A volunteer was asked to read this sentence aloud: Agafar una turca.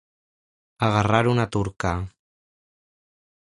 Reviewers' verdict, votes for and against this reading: rejected, 1, 2